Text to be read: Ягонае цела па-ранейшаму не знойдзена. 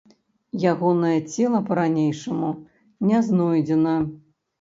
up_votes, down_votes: 3, 0